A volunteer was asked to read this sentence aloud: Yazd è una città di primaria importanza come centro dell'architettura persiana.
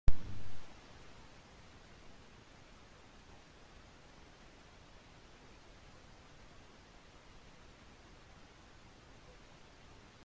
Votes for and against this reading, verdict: 0, 2, rejected